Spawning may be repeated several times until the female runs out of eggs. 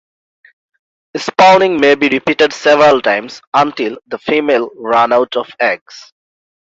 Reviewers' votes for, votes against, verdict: 1, 2, rejected